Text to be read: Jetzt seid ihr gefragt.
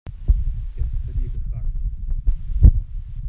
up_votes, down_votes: 0, 2